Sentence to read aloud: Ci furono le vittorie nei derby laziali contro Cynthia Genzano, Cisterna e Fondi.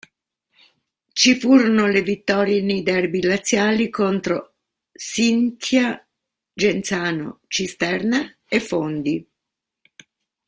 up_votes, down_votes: 0, 2